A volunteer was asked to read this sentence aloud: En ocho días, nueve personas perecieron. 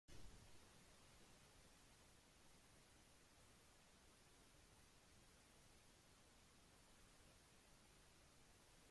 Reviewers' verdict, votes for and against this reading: rejected, 0, 3